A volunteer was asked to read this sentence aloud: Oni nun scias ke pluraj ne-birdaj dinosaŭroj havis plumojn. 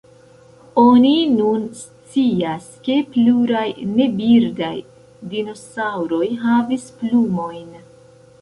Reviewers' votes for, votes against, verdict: 1, 2, rejected